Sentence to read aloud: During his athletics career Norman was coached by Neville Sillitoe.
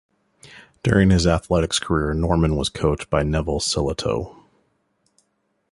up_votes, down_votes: 2, 0